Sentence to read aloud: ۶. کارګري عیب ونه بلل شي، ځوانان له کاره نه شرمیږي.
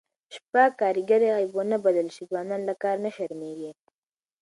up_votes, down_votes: 0, 2